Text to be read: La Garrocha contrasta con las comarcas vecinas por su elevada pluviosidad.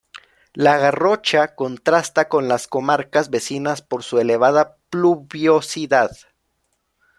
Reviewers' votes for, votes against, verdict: 2, 0, accepted